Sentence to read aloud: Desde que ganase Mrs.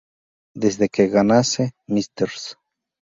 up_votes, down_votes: 0, 2